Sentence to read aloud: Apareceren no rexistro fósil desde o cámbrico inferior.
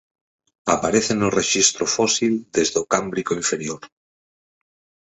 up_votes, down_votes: 2, 4